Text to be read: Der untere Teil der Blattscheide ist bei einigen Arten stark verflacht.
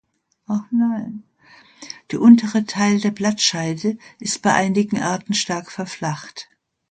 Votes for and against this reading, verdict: 0, 2, rejected